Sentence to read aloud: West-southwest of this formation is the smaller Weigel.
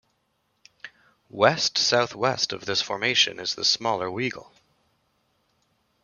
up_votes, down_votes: 2, 0